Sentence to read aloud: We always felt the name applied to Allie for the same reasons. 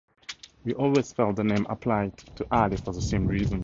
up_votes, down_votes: 0, 2